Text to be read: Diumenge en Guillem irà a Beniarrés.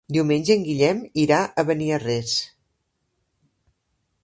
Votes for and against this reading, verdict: 3, 0, accepted